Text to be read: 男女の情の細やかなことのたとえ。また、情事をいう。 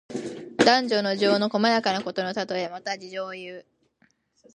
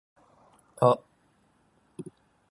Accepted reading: first